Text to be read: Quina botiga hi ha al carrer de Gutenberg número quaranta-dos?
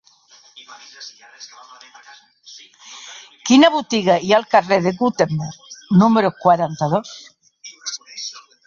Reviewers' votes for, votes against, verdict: 1, 2, rejected